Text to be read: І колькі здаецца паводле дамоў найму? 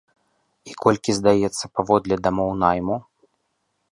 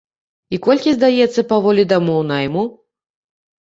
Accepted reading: first